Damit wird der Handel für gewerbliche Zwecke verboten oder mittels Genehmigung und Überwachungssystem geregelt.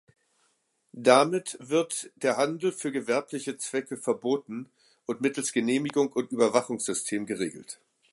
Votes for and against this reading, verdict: 1, 2, rejected